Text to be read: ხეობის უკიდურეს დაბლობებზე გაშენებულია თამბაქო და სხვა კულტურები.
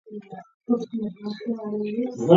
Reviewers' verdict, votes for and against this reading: rejected, 0, 2